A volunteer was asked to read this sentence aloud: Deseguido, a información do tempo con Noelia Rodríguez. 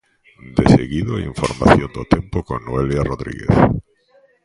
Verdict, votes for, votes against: accepted, 2, 0